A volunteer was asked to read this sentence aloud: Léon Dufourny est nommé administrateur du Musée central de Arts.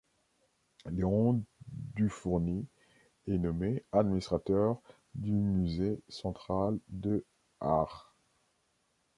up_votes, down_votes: 2, 0